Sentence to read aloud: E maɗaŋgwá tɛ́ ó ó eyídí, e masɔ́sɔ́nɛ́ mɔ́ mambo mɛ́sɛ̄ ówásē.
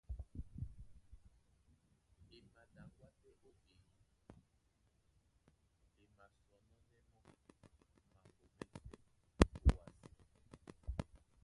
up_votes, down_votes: 0, 2